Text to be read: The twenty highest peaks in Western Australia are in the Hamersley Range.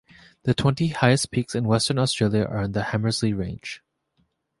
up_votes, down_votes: 0, 2